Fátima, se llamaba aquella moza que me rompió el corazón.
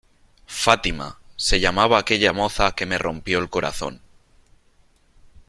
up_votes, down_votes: 3, 0